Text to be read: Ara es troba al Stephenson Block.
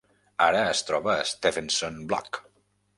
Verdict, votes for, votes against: rejected, 0, 2